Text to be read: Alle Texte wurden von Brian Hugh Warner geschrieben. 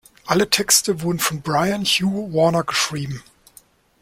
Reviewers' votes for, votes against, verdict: 1, 2, rejected